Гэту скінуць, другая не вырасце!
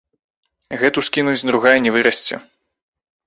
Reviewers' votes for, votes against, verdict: 1, 2, rejected